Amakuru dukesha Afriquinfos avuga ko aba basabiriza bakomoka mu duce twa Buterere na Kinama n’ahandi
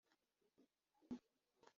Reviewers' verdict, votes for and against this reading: rejected, 0, 2